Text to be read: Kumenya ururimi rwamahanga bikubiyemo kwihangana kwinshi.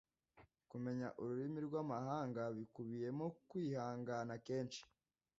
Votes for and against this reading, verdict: 1, 2, rejected